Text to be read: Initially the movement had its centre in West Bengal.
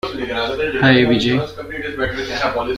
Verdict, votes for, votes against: rejected, 0, 2